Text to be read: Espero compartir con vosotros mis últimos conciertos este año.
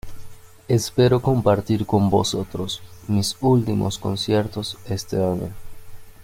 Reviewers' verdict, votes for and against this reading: accepted, 2, 0